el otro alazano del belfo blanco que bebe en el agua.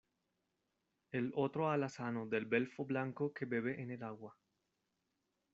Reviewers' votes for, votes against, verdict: 2, 0, accepted